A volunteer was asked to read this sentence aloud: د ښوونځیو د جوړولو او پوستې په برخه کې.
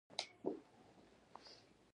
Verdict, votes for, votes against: rejected, 0, 2